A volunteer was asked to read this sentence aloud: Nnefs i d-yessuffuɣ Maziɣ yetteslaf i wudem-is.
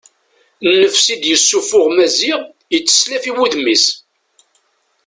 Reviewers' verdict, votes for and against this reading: accepted, 2, 0